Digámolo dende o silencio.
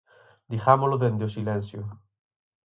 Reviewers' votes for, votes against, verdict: 6, 0, accepted